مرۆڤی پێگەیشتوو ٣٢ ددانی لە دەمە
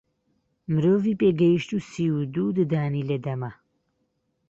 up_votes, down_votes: 0, 2